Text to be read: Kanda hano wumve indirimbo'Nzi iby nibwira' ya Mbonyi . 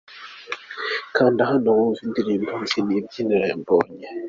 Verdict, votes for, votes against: accepted, 2, 0